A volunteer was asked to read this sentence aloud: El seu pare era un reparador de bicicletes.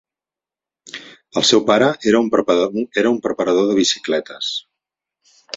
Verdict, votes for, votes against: rejected, 0, 2